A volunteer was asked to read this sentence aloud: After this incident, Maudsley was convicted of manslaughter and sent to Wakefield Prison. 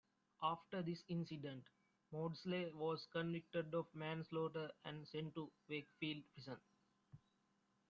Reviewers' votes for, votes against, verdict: 0, 2, rejected